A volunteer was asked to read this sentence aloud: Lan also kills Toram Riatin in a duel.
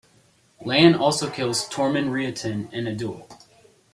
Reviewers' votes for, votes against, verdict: 0, 2, rejected